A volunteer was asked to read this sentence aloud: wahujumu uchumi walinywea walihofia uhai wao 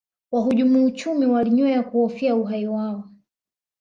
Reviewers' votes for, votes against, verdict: 3, 0, accepted